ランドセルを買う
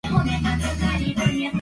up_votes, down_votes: 1, 3